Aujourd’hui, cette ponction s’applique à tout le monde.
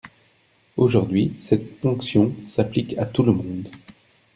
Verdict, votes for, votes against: accepted, 2, 0